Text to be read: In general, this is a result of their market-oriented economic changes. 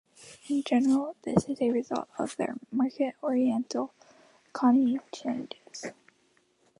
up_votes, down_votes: 0, 2